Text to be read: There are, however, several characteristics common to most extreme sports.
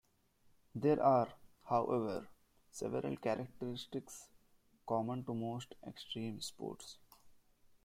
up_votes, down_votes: 2, 0